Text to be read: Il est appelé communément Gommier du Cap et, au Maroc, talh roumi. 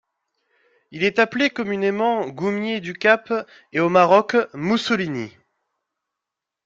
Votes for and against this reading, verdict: 0, 2, rejected